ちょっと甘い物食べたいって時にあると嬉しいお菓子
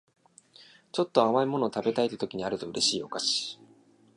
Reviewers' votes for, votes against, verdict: 2, 0, accepted